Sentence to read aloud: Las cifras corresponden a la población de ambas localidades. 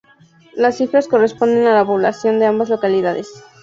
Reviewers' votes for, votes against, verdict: 4, 0, accepted